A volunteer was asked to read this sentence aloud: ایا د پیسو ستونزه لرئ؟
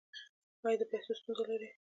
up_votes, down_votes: 2, 1